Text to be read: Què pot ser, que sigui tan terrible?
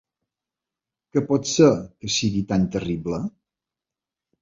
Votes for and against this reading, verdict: 3, 0, accepted